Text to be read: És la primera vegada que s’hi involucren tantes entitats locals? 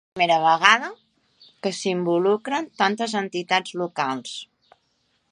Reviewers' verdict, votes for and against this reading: rejected, 1, 3